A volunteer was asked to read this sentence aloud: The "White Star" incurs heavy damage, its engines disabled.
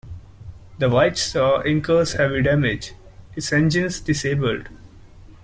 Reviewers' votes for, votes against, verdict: 1, 2, rejected